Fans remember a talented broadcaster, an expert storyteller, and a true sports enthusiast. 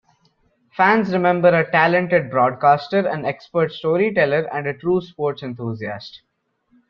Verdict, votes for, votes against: rejected, 1, 2